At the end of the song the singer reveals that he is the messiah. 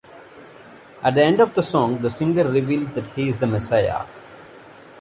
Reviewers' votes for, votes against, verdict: 2, 0, accepted